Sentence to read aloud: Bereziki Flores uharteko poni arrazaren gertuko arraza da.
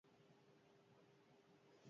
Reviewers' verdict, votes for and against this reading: rejected, 0, 2